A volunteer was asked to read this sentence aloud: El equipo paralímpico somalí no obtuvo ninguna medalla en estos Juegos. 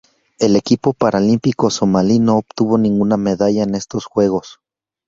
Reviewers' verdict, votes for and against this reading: rejected, 2, 2